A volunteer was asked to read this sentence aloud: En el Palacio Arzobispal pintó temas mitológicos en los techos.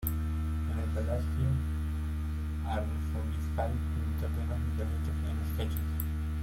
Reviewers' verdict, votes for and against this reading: rejected, 1, 2